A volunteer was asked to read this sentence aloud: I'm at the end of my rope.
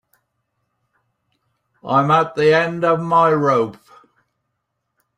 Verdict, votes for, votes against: accepted, 2, 0